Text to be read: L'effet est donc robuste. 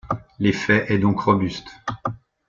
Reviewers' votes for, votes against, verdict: 2, 0, accepted